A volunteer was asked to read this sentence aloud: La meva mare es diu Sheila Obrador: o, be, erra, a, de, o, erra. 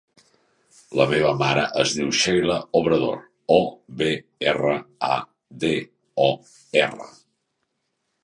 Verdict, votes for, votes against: accepted, 3, 0